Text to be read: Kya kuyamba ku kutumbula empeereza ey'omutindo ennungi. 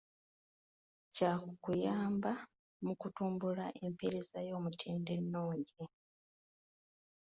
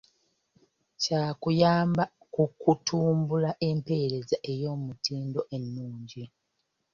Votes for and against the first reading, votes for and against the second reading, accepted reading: 0, 2, 2, 0, second